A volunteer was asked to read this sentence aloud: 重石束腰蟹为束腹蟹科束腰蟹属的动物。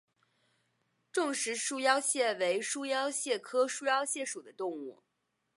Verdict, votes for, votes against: accepted, 3, 1